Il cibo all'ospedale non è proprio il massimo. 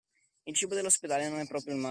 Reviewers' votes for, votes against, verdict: 0, 2, rejected